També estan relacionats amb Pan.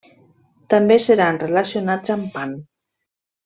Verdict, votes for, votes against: rejected, 0, 2